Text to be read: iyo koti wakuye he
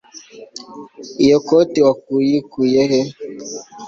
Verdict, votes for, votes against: rejected, 0, 2